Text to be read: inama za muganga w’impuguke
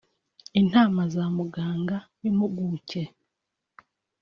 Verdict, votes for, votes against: rejected, 1, 2